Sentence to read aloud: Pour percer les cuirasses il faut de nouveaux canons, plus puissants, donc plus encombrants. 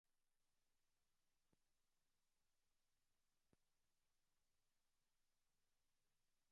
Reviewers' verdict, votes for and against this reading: rejected, 0, 2